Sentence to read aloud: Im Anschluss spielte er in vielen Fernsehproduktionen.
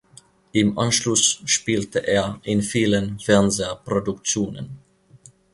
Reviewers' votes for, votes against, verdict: 1, 2, rejected